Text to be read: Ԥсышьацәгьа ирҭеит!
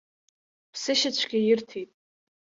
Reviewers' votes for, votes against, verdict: 2, 0, accepted